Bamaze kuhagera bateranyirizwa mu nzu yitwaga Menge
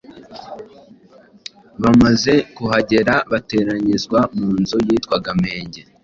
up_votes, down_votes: 2, 0